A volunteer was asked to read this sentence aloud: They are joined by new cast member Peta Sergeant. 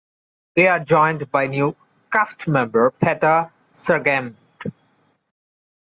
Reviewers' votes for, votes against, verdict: 1, 2, rejected